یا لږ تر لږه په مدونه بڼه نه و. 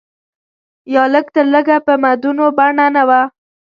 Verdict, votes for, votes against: rejected, 1, 2